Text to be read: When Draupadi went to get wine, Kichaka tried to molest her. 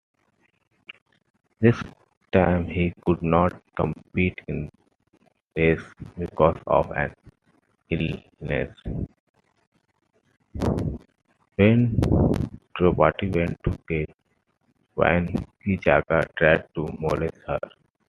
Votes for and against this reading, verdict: 0, 2, rejected